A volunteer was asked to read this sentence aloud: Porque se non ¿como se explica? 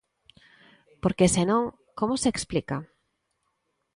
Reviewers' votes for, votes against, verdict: 2, 0, accepted